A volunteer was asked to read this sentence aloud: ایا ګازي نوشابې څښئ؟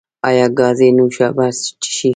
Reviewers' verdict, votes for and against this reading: rejected, 0, 2